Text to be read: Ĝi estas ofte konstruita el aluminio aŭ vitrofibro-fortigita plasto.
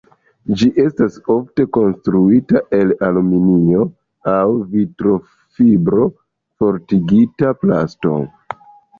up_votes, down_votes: 2, 0